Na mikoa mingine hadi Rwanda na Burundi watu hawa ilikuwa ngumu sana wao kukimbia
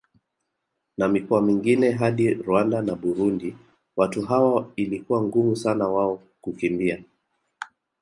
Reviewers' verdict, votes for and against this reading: rejected, 0, 2